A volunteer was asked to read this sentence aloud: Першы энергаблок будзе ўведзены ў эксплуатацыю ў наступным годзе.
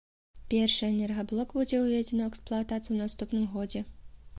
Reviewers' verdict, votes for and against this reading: accepted, 2, 0